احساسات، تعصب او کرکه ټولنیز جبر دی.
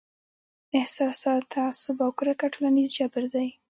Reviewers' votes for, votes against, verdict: 0, 2, rejected